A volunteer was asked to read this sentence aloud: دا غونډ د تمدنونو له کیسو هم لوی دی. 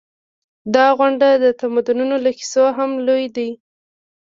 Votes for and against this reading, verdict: 1, 2, rejected